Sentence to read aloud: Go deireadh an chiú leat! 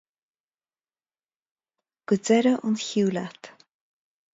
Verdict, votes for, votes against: accepted, 2, 0